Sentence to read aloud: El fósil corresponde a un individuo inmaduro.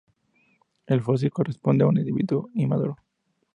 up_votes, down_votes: 2, 0